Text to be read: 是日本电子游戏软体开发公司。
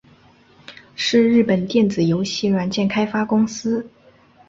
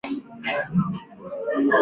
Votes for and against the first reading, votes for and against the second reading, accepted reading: 5, 0, 0, 6, first